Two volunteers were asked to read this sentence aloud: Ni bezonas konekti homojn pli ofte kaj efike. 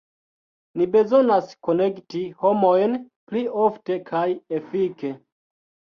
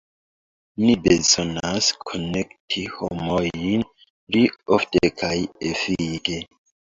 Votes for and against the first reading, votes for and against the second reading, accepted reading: 1, 2, 2, 0, second